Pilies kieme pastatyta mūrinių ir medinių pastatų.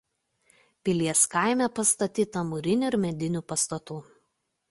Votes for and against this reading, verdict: 1, 2, rejected